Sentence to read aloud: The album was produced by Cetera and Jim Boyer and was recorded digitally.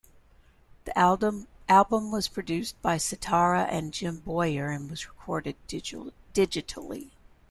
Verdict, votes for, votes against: rejected, 0, 2